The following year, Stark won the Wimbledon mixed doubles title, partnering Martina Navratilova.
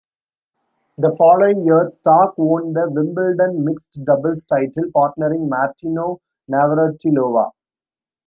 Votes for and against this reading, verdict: 1, 2, rejected